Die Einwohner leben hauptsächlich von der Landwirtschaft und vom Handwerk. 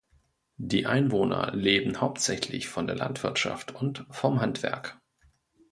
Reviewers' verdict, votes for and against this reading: accepted, 2, 0